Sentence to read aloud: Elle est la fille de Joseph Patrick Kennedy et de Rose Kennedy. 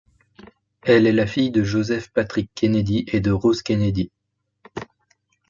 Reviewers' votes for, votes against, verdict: 2, 0, accepted